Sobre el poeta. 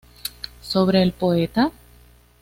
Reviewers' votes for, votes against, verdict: 2, 0, accepted